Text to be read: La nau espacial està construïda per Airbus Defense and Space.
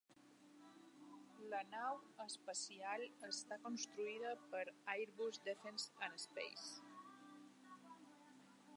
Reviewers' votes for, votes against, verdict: 1, 2, rejected